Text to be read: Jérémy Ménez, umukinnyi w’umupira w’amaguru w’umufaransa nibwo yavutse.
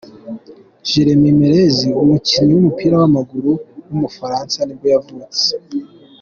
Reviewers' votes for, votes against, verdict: 2, 0, accepted